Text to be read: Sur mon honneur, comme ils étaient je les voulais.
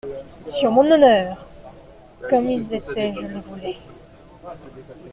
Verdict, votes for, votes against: accepted, 2, 1